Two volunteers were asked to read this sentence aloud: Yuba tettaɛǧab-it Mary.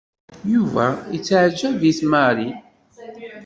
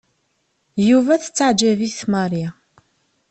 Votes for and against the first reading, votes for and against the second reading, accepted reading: 1, 2, 2, 0, second